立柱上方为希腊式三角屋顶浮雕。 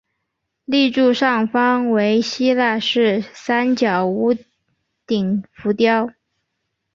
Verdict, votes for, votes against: accepted, 2, 1